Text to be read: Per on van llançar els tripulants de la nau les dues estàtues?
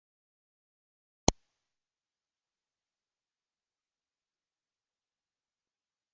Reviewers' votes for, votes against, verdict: 1, 2, rejected